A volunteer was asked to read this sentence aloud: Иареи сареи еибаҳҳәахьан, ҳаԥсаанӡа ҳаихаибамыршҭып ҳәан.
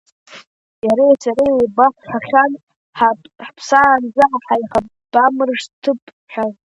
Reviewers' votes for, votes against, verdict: 0, 2, rejected